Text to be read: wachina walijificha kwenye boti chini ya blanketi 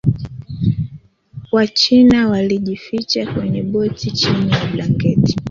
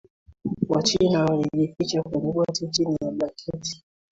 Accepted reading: second